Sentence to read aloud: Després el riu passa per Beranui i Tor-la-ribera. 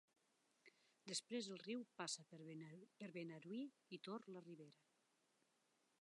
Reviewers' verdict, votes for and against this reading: rejected, 1, 2